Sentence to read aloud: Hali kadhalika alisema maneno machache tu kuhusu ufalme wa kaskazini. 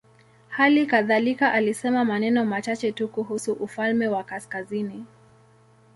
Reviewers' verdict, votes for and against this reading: accepted, 2, 0